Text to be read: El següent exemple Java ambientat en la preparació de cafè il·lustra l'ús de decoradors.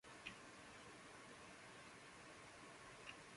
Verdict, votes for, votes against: rejected, 0, 2